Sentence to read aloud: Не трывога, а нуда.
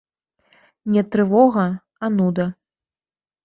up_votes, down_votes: 1, 2